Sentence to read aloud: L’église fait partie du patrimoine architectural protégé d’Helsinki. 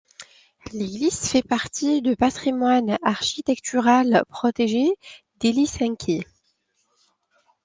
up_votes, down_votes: 0, 2